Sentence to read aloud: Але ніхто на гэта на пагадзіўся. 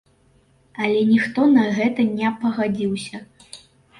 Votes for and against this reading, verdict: 1, 2, rejected